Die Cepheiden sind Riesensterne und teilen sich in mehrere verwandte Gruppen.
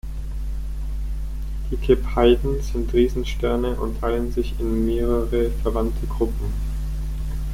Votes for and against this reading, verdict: 0, 6, rejected